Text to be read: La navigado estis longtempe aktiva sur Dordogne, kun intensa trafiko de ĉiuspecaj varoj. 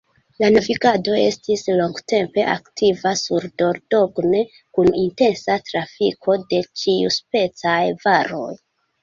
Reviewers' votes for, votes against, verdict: 2, 0, accepted